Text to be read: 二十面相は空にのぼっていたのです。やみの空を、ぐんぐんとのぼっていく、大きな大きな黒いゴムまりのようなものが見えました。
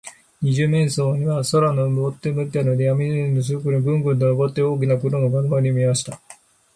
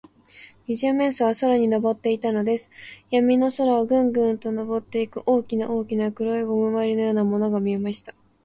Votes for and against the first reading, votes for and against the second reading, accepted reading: 0, 4, 2, 0, second